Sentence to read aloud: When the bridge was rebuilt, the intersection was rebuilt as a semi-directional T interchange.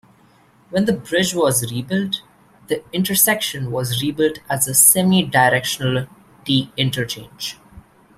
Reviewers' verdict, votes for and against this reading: accepted, 2, 0